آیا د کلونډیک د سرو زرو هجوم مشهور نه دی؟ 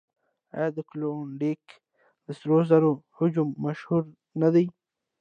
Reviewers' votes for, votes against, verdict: 2, 0, accepted